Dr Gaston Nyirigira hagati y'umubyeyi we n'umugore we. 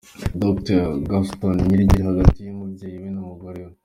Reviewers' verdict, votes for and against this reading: rejected, 1, 2